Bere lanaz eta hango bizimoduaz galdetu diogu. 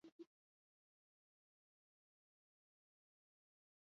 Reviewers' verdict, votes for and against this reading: rejected, 0, 4